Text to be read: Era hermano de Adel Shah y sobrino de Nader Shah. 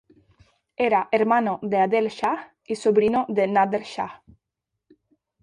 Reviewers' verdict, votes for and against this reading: rejected, 2, 2